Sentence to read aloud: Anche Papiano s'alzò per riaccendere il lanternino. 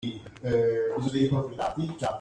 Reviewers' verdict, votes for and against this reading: rejected, 0, 2